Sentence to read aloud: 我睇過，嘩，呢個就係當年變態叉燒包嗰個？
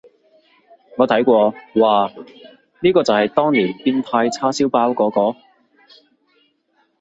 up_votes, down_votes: 2, 0